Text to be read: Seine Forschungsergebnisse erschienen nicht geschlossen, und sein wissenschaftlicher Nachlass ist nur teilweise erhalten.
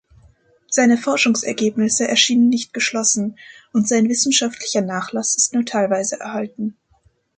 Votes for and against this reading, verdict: 2, 0, accepted